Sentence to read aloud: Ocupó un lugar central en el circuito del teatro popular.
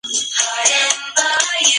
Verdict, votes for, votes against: rejected, 0, 2